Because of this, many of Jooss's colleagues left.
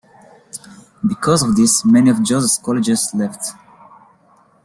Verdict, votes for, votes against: rejected, 0, 2